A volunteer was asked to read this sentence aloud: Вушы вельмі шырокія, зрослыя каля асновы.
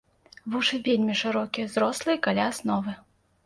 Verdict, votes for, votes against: accepted, 2, 0